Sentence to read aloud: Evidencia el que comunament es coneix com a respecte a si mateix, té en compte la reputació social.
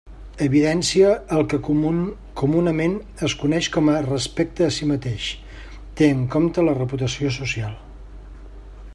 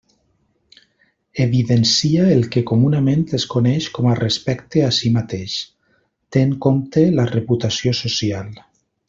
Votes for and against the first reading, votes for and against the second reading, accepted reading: 0, 2, 2, 0, second